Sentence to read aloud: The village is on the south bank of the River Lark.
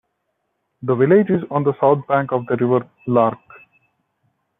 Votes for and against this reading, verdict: 2, 0, accepted